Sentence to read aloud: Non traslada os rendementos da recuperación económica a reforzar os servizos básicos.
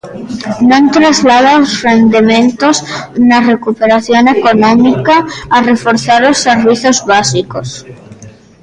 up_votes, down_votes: 0, 2